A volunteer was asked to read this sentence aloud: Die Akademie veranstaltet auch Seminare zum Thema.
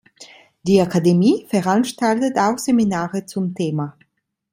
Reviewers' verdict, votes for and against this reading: accepted, 2, 0